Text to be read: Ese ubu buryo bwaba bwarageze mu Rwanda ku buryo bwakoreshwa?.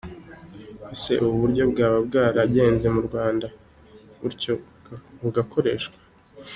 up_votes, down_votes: 0, 2